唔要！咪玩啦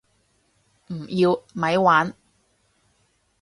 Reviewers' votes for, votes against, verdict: 0, 2, rejected